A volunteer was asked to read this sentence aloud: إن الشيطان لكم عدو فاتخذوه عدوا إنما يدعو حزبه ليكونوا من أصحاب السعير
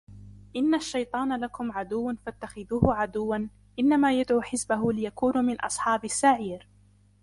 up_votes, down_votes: 1, 2